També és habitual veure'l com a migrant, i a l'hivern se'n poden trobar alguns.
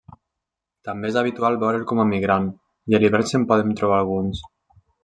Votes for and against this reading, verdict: 2, 0, accepted